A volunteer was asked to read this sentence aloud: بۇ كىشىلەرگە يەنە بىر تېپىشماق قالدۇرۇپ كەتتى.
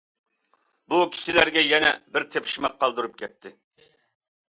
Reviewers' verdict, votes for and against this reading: accepted, 2, 0